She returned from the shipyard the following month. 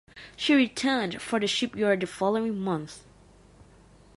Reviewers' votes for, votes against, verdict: 1, 2, rejected